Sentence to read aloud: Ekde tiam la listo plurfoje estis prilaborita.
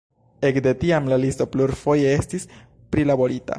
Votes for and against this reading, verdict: 0, 2, rejected